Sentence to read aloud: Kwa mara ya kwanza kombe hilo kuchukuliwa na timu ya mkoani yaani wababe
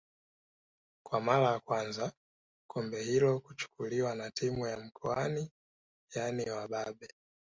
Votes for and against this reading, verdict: 2, 0, accepted